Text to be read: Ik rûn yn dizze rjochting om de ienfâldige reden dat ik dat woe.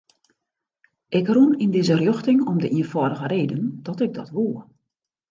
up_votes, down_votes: 2, 0